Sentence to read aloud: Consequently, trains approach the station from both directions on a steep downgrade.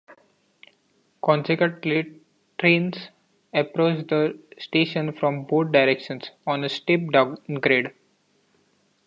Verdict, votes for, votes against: rejected, 0, 2